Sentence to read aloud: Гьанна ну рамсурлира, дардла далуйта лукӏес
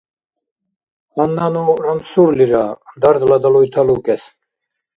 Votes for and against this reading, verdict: 2, 0, accepted